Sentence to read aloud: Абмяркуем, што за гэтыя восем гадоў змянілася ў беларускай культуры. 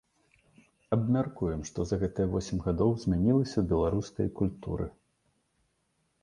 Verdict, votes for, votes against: accepted, 3, 0